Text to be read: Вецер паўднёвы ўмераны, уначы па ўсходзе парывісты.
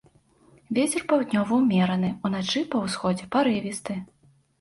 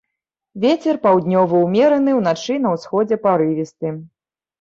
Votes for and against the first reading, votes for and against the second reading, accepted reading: 2, 0, 1, 2, first